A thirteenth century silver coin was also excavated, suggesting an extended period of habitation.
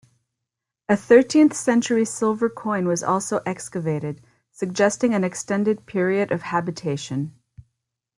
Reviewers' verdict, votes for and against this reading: accepted, 2, 0